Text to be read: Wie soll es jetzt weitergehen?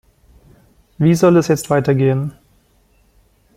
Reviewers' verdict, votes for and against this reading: accepted, 2, 0